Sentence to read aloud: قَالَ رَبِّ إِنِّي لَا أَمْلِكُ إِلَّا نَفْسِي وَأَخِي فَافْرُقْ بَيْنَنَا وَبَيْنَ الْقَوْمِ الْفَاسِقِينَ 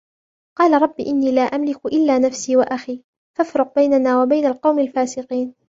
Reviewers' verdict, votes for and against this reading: accepted, 2, 0